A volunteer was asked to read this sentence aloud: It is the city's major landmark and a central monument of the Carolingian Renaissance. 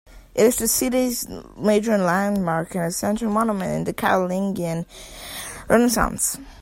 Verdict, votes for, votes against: rejected, 1, 2